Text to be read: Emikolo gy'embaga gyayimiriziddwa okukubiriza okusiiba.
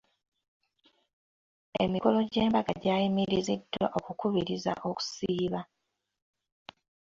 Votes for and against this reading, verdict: 2, 0, accepted